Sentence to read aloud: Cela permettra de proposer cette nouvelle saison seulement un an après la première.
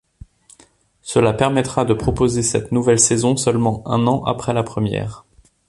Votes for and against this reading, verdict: 2, 0, accepted